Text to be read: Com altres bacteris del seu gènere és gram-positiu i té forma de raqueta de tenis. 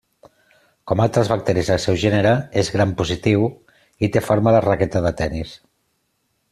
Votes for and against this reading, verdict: 2, 0, accepted